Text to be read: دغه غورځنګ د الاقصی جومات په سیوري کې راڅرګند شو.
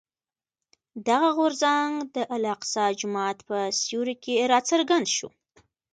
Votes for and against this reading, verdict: 2, 1, accepted